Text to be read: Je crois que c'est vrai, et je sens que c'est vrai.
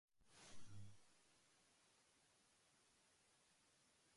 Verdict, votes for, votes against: rejected, 0, 2